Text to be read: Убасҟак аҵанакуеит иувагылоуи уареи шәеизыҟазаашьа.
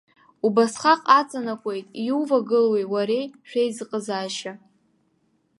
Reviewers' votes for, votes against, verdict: 2, 0, accepted